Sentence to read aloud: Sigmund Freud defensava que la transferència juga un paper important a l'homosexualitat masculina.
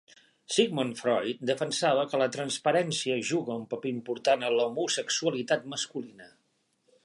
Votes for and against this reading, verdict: 1, 3, rejected